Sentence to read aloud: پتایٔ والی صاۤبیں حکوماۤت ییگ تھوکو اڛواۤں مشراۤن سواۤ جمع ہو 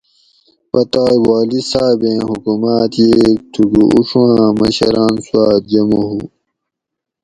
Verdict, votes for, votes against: accepted, 2, 0